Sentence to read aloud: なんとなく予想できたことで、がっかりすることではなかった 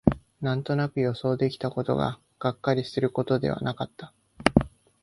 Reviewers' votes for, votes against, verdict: 0, 2, rejected